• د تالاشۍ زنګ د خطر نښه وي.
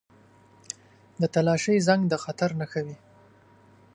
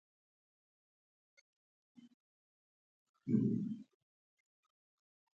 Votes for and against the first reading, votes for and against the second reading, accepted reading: 2, 0, 0, 2, first